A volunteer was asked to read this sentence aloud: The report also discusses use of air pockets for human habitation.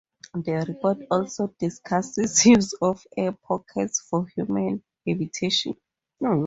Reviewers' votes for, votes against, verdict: 2, 2, rejected